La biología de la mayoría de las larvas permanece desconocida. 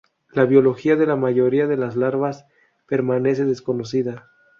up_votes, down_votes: 0, 2